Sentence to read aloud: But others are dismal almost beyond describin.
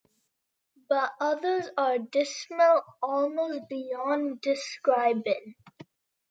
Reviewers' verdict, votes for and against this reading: accepted, 2, 0